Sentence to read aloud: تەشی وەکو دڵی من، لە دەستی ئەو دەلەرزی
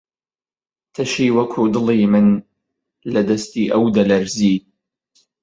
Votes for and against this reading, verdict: 3, 0, accepted